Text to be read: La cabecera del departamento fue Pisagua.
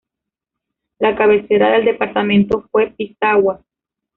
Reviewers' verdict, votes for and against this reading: rejected, 0, 2